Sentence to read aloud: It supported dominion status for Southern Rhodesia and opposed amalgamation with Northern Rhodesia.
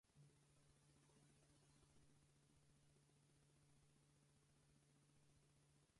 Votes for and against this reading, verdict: 0, 4, rejected